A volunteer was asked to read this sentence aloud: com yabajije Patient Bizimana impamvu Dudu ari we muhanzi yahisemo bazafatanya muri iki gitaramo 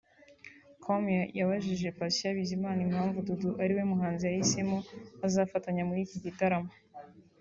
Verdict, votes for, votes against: rejected, 1, 2